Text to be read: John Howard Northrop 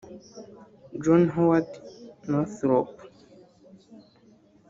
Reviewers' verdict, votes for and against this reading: rejected, 0, 2